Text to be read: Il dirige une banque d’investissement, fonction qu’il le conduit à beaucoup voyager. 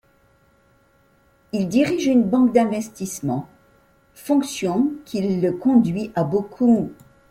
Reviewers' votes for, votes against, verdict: 0, 2, rejected